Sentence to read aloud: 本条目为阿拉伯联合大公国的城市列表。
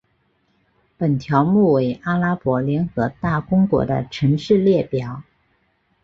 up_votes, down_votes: 6, 1